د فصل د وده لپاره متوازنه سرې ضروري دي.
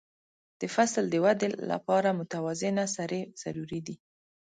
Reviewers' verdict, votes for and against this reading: accepted, 2, 0